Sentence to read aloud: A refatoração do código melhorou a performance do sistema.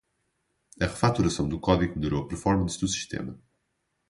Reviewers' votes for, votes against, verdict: 0, 2, rejected